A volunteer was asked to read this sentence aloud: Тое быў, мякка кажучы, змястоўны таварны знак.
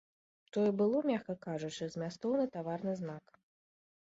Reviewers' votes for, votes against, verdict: 1, 2, rejected